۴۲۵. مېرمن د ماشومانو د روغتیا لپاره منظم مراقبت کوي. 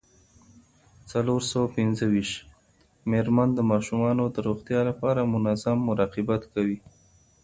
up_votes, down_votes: 0, 2